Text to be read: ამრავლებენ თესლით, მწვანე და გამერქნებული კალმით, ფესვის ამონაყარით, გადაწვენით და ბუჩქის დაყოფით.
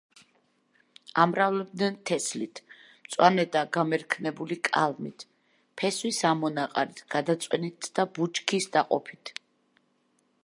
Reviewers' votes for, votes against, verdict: 0, 2, rejected